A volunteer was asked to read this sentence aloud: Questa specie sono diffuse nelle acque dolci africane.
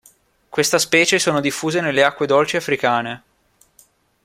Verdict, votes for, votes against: accepted, 2, 0